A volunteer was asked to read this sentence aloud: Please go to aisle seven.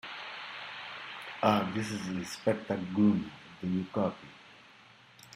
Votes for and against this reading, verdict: 0, 2, rejected